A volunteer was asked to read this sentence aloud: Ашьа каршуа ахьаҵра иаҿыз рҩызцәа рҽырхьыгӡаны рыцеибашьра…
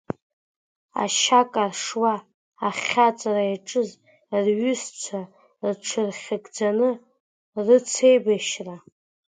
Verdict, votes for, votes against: accepted, 2, 0